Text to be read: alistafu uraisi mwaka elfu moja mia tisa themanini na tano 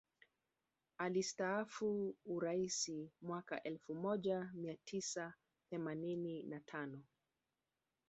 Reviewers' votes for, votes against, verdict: 2, 0, accepted